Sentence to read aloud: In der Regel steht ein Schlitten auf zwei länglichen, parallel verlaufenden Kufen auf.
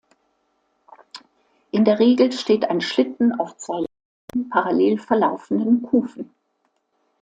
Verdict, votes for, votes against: rejected, 1, 2